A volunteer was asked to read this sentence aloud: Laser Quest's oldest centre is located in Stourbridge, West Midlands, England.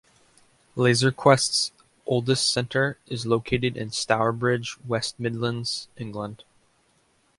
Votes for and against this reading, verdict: 2, 0, accepted